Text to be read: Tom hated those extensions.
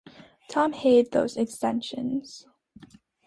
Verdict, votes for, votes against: accepted, 2, 0